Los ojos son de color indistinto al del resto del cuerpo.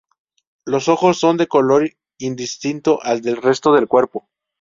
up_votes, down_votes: 2, 0